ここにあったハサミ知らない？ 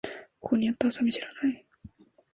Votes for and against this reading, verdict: 0, 2, rejected